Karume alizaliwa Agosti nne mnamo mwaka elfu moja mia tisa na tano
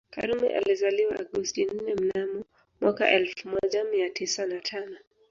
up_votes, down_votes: 2, 0